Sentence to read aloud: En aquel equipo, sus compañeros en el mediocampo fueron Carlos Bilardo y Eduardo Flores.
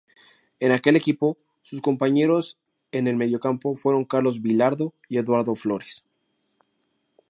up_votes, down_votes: 2, 0